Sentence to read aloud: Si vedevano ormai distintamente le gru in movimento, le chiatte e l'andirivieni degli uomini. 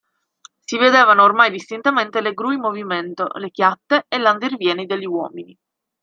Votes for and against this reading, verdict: 2, 0, accepted